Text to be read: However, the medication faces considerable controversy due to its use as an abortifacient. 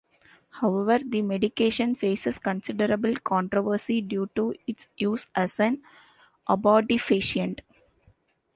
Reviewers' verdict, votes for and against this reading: accepted, 2, 0